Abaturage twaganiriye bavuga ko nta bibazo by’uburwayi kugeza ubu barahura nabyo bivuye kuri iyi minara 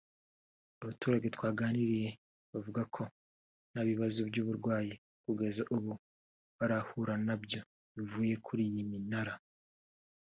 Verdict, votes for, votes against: accepted, 2, 0